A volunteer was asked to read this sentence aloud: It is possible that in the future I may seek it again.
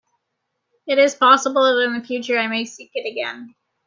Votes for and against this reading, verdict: 2, 0, accepted